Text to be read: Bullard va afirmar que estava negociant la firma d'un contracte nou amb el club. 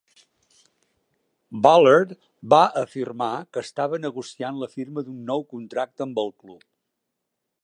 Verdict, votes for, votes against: rejected, 0, 2